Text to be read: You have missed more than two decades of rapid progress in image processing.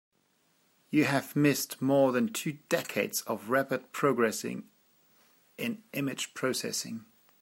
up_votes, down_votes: 0, 2